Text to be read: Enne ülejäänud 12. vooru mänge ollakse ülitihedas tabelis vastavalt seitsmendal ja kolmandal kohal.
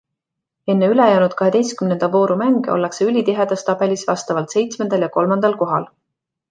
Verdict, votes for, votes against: rejected, 0, 2